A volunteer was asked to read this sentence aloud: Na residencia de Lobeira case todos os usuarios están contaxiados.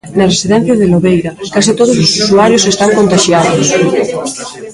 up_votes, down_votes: 0, 2